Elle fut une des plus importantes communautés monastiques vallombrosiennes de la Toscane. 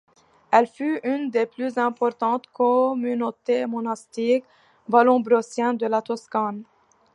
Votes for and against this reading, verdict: 1, 2, rejected